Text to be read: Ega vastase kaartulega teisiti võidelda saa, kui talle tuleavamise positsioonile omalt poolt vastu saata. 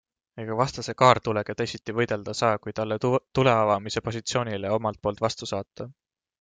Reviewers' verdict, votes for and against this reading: accepted, 2, 1